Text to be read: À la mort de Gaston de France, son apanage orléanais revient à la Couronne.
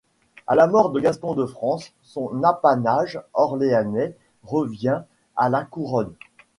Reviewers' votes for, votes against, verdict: 2, 0, accepted